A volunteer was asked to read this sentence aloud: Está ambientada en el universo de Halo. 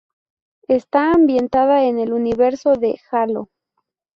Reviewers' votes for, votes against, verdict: 2, 0, accepted